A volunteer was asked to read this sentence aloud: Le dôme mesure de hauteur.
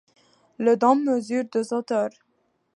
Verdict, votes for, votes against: rejected, 0, 2